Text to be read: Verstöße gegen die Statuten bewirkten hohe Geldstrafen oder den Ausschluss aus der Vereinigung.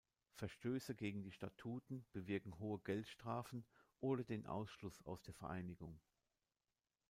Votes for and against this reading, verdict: 1, 2, rejected